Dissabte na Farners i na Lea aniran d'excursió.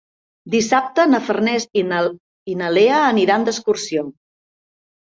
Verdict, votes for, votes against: rejected, 0, 2